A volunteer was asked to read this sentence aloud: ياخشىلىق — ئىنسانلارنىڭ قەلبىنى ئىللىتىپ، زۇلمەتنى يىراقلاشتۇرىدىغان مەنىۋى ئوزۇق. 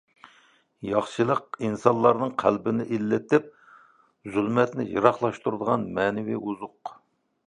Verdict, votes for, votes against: accepted, 2, 0